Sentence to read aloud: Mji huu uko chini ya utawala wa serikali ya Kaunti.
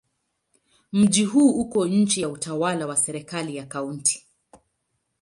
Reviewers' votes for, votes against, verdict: 1, 2, rejected